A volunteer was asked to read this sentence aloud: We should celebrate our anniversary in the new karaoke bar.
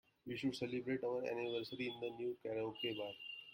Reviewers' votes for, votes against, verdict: 0, 2, rejected